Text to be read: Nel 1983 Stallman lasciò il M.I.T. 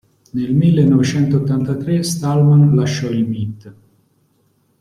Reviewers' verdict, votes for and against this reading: rejected, 0, 2